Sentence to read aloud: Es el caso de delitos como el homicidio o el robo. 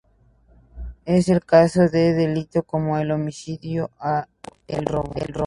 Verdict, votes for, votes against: rejected, 0, 2